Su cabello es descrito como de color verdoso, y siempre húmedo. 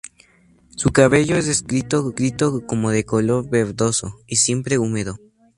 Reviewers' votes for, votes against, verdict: 0, 2, rejected